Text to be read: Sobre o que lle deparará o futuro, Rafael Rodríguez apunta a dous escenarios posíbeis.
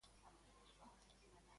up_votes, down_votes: 0, 2